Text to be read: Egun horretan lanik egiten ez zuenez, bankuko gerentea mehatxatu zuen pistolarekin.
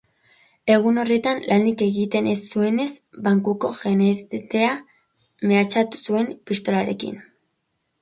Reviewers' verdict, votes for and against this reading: rejected, 1, 4